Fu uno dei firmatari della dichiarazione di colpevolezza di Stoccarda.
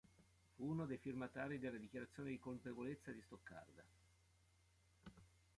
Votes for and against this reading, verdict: 1, 2, rejected